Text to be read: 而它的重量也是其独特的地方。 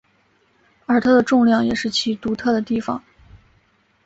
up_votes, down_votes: 3, 0